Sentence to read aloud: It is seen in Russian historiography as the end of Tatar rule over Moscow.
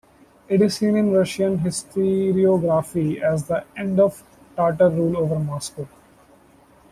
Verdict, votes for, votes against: rejected, 1, 2